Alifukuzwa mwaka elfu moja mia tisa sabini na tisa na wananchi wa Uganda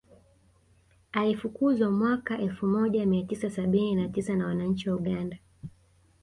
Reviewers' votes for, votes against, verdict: 2, 0, accepted